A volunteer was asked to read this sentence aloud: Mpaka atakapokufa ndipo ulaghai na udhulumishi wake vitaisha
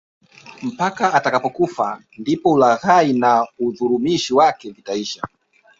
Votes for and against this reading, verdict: 2, 1, accepted